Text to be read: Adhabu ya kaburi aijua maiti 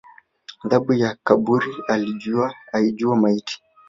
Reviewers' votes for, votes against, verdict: 1, 2, rejected